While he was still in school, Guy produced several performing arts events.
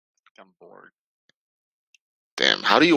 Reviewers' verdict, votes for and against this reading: rejected, 0, 2